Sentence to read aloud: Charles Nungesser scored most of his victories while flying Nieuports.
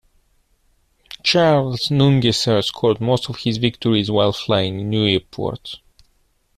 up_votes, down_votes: 2, 1